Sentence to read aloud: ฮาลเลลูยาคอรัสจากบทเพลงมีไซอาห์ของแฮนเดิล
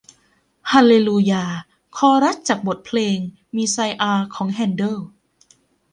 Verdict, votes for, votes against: accepted, 2, 0